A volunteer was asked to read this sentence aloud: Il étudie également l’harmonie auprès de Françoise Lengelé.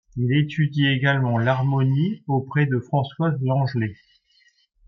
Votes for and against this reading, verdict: 1, 2, rejected